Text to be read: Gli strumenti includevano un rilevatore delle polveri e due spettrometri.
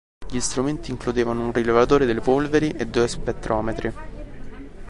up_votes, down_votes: 3, 0